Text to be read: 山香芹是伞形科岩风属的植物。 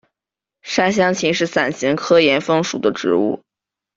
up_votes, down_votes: 1, 2